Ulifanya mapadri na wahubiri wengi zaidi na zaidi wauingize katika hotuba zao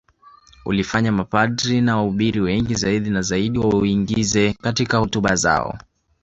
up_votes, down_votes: 1, 2